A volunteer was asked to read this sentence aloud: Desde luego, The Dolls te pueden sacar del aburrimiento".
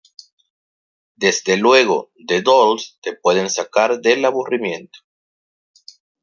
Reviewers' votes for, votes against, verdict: 2, 0, accepted